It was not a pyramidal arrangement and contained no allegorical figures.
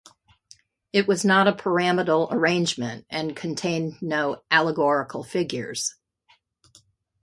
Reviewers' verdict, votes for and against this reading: accepted, 2, 0